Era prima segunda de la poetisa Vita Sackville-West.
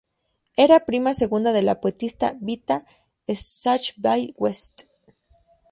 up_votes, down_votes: 0, 2